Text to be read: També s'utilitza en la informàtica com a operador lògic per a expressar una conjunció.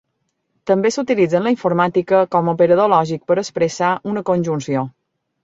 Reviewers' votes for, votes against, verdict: 2, 0, accepted